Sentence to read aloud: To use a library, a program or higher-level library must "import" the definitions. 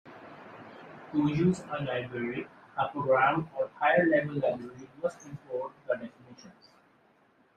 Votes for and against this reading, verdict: 2, 1, accepted